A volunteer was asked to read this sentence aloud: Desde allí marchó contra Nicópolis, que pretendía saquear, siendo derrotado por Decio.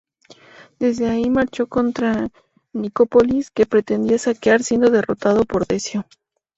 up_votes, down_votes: 0, 2